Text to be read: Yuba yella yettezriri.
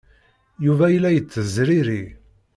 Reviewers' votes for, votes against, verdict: 2, 1, accepted